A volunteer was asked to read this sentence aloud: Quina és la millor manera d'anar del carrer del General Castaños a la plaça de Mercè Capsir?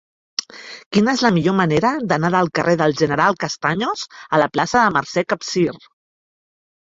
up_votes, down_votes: 3, 0